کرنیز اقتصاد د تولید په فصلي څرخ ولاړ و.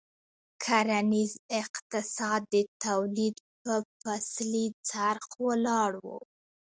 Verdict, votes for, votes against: accepted, 2, 1